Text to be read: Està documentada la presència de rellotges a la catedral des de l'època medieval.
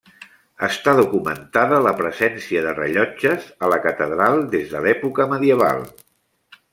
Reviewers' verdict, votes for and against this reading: accepted, 3, 0